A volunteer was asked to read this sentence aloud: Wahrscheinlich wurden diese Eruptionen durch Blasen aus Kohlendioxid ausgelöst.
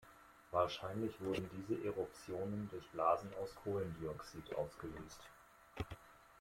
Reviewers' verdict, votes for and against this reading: accepted, 2, 1